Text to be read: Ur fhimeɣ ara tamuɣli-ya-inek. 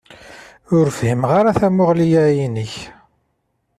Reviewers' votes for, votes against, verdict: 2, 0, accepted